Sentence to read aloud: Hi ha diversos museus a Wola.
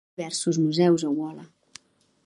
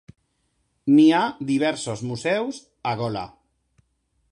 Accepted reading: second